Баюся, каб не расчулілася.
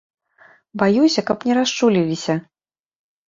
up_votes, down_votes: 2, 1